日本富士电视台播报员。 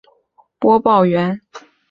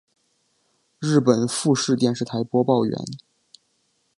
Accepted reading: second